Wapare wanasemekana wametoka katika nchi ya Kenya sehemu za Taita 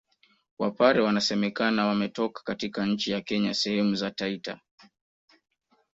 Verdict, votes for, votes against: accepted, 2, 0